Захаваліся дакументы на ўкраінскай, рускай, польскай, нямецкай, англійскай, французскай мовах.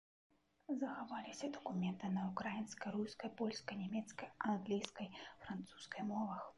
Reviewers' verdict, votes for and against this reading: rejected, 0, 2